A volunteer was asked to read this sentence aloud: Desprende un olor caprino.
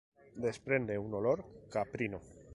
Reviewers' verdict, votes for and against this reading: accepted, 2, 0